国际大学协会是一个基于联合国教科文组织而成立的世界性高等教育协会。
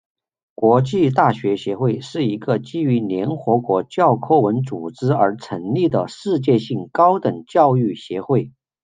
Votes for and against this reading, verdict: 2, 0, accepted